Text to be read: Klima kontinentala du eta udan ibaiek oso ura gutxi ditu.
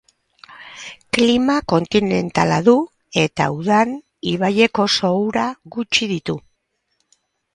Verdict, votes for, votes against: accepted, 8, 0